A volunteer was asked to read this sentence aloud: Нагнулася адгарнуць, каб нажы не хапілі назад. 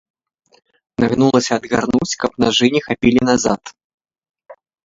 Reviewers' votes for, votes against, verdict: 1, 2, rejected